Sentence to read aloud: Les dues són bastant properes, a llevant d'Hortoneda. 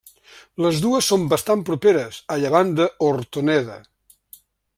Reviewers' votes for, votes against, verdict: 1, 2, rejected